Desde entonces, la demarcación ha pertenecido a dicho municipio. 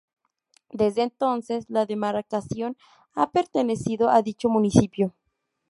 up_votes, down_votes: 0, 2